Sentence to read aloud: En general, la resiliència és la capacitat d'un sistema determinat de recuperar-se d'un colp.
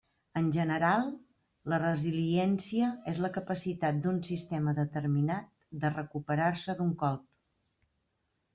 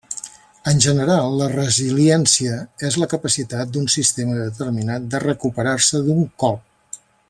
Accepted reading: first